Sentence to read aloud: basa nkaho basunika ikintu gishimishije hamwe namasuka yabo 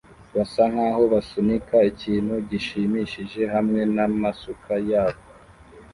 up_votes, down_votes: 1, 2